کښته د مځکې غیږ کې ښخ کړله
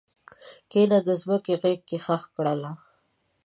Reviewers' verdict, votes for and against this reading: accepted, 2, 1